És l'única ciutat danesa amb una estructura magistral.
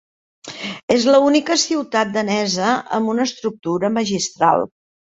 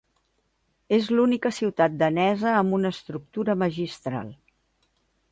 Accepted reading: second